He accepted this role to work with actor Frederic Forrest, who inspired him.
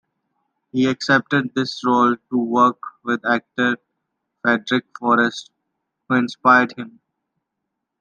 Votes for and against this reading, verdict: 2, 1, accepted